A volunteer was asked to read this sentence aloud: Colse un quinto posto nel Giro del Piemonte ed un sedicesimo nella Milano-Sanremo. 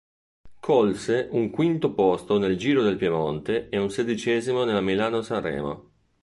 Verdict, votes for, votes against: rejected, 1, 2